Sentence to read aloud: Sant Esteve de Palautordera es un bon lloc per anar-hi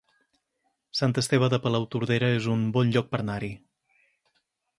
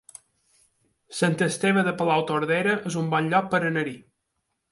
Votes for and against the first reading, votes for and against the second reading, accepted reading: 0, 4, 2, 0, second